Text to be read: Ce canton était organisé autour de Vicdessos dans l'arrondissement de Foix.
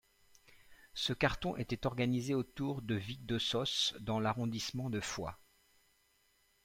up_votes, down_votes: 0, 2